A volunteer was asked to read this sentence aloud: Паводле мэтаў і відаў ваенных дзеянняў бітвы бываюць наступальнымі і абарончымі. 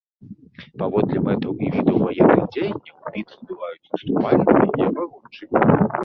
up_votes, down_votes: 1, 2